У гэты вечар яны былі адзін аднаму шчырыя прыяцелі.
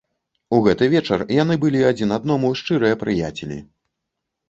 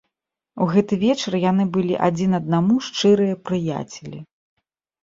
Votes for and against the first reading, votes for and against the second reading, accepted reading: 0, 2, 2, 0, second